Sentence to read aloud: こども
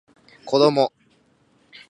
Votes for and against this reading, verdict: 2, 0, accepted